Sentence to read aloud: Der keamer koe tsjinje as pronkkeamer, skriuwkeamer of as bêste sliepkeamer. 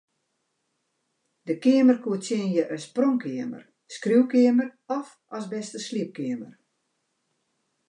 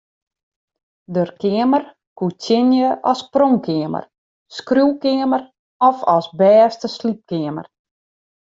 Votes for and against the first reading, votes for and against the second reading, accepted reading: 2, 0, 0, 2, first